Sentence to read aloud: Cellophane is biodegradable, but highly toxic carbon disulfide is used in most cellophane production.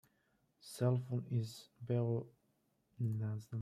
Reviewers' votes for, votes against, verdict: 1, 2, rejected